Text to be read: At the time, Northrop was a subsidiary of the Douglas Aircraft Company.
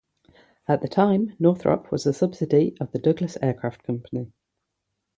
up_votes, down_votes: 3, 3